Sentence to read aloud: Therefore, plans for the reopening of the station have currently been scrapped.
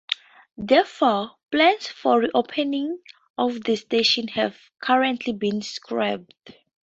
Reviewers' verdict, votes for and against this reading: rejected, 0, 4